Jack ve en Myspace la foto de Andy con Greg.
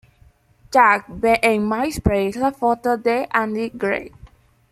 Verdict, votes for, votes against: rejected, 1, 2